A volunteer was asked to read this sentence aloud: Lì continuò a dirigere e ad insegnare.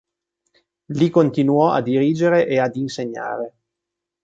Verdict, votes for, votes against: accepted, 2, 0